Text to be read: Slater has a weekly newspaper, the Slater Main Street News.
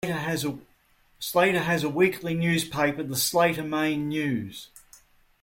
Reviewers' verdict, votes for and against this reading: rejected, 1, 2